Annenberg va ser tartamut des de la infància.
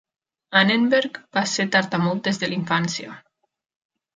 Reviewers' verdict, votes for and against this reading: accepted, 2, 0